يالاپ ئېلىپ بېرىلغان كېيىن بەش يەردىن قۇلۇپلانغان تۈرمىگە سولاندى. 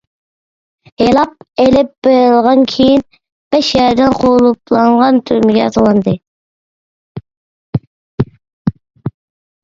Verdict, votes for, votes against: rejected, 1, 2